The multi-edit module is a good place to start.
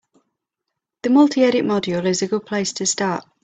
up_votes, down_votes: 2, 0